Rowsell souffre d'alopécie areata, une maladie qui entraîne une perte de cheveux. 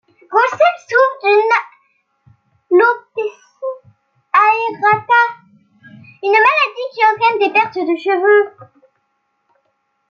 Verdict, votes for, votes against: rejected, 0, 2